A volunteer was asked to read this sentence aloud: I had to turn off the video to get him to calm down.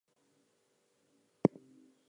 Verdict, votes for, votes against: rejected, 0, 4